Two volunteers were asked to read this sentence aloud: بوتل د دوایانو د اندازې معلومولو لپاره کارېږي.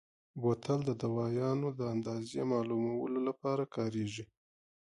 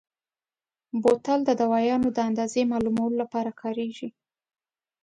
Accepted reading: first